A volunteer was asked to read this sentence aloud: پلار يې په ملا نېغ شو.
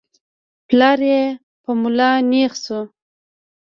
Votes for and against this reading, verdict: 3, 0, accepted